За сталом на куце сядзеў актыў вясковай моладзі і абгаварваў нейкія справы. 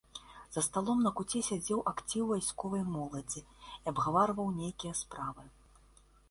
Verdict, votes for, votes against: rejected, 1, 2